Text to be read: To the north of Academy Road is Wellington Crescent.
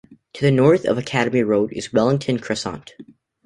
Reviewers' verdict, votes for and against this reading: rejected, 1, 2